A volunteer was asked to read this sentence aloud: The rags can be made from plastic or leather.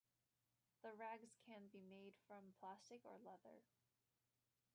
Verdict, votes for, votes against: rejected, 0, 2